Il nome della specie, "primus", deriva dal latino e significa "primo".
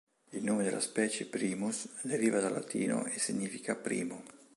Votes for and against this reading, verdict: 2, 0, accepted